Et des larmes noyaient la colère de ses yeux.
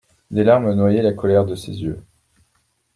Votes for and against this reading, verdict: 1, 2, rejected